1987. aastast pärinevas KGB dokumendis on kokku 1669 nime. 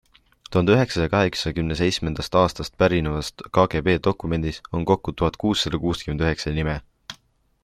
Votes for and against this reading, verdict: 0, 2, rejected